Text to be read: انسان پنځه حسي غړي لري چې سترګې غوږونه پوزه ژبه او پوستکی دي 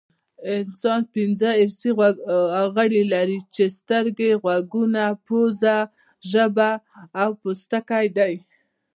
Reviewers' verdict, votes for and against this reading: rejected, 1, 2